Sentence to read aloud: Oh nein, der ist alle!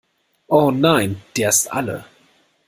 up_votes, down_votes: 2, 0